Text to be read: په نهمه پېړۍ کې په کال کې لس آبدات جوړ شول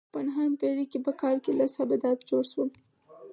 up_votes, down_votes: 2, 4